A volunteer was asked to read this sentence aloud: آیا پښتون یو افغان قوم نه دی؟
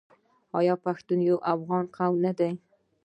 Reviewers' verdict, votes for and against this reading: rejected, 0, 2